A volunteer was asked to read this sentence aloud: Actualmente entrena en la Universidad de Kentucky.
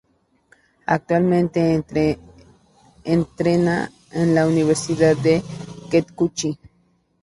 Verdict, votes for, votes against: rejected, 0, 2